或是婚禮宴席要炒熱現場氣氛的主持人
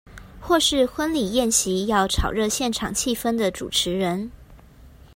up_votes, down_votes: 2, 0